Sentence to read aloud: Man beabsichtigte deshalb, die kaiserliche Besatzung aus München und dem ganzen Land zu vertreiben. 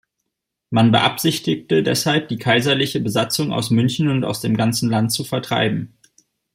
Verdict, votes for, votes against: rejected, 0, 2